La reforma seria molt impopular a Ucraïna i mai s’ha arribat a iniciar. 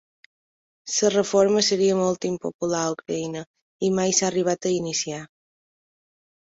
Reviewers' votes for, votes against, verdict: 0, 2, rejected